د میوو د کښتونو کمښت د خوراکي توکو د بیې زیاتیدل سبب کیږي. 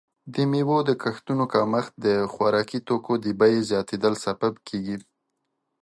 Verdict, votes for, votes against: accepted, 2, 1